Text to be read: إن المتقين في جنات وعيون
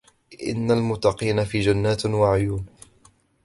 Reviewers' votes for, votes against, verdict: 2, 0, accepted